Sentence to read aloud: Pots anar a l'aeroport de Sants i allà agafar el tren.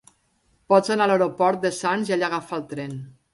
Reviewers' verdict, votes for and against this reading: accepted, 2, 0